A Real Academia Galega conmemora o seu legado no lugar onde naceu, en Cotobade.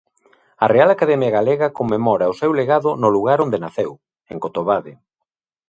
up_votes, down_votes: 2, 0